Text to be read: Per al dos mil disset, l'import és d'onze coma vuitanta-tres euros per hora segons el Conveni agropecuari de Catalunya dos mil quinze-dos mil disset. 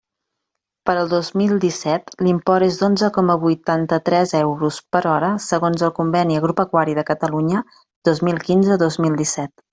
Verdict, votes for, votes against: accepted, 2, 0